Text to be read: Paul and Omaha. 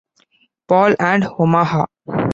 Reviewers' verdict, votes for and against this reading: rejected, 0, 2